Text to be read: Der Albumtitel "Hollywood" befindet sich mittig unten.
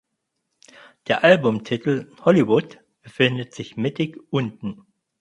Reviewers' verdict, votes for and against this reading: accepted, 4, 0